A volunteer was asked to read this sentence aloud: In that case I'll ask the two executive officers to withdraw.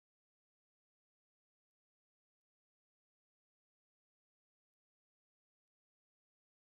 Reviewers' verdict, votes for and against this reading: rejected, 0, 2